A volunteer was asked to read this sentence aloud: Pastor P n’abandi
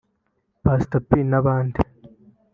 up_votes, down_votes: 0, 2